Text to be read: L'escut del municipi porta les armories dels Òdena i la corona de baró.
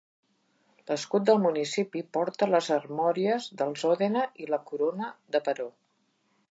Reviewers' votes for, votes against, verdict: 2, 0, accepted